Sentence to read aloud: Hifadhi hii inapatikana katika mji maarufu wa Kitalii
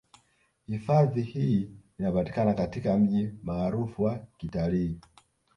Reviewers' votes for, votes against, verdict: 1, 2, rejected